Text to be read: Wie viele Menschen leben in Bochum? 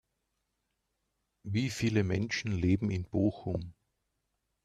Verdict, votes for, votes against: accepted, 2, 0